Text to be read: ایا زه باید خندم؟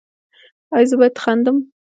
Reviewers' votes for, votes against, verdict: 0, 2, rejected